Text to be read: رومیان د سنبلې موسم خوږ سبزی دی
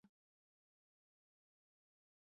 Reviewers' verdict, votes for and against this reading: rejected, 0, 2